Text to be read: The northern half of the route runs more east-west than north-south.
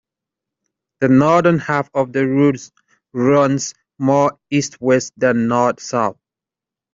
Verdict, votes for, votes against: accepted, 2, 0